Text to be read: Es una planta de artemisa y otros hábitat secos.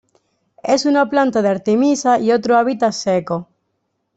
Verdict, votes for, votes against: rejected, 0, 2